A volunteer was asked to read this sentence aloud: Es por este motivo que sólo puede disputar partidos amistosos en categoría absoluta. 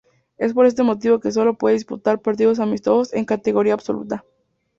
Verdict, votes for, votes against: accepted, 4, 0